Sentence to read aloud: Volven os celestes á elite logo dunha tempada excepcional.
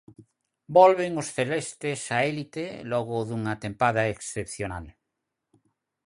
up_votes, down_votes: 0, 4